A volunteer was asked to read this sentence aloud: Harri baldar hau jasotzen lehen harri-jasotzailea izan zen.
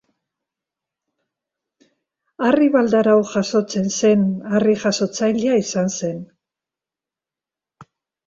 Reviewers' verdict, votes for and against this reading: rejected, 0, 2